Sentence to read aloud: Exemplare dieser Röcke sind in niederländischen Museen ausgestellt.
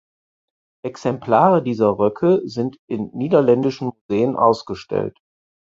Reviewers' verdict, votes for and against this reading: rejected, 0, 4